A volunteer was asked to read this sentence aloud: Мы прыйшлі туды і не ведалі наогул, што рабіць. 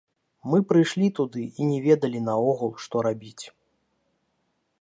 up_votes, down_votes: 1, 2